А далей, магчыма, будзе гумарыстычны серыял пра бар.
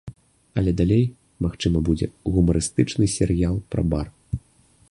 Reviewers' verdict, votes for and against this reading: rejected, 1, 2